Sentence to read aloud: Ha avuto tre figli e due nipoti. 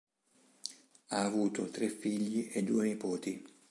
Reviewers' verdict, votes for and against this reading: accepted, 3, 0